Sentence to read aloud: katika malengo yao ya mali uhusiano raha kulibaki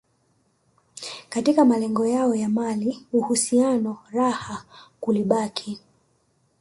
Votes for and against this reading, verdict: 2, 1, accepted